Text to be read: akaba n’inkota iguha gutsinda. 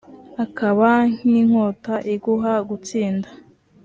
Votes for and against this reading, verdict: 2, 0, accepted